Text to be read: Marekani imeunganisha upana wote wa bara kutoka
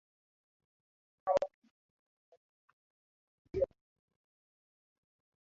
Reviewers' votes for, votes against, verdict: 1, 7, rejected